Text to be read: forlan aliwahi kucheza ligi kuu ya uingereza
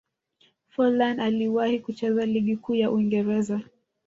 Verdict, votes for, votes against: accepted, 2, 0